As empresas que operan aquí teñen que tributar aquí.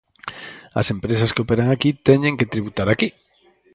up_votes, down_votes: 2, 2